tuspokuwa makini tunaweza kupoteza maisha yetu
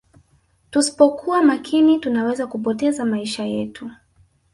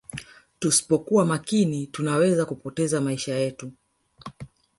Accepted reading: first